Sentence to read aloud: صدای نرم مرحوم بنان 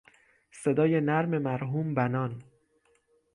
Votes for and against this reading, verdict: 6, 0, accepted